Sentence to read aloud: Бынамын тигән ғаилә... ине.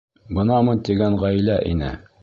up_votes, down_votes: 2, 0